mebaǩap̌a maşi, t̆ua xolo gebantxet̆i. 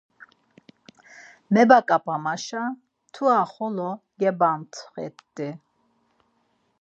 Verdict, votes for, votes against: rejected, 0, 4